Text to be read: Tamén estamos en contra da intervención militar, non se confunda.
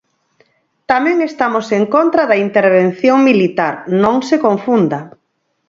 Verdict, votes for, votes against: accepted, 4, 0